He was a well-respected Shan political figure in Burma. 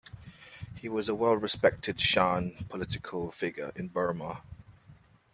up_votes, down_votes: 2, 0